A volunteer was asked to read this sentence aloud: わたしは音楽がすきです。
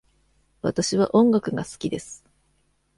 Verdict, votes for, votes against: accepted, 2, 0